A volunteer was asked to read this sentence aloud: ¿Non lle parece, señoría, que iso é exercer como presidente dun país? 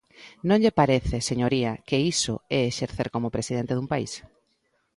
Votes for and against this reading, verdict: 2, 0, accepted